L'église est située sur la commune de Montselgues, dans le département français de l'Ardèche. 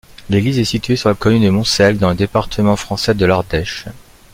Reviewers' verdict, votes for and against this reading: rejected, 1, 2